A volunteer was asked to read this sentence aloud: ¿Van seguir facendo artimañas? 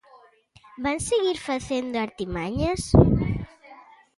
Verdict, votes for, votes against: accepted, 2, 0